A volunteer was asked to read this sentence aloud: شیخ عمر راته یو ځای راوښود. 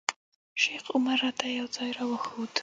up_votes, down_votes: 3, 0